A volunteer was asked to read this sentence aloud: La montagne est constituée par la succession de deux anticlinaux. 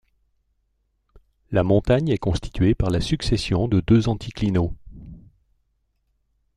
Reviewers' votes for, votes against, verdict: 1, 2, rejected